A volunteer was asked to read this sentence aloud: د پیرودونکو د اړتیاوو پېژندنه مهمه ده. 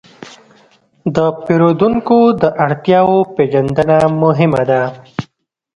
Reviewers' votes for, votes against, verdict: 2, 0, accepted